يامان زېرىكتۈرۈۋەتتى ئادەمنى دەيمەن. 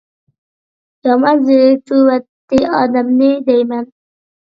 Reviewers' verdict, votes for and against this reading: accepted, 2, 1